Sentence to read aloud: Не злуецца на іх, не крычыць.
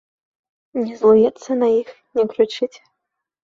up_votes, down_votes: 2, 0